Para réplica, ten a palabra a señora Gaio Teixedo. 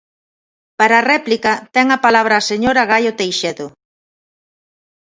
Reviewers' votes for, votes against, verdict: 2, 0, accepted